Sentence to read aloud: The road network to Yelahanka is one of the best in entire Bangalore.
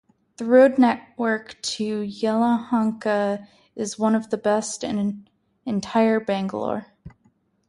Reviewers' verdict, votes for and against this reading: rejected, 2, 2